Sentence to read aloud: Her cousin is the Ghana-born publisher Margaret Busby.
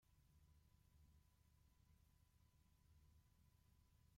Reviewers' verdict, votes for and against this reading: rejected, 1, 2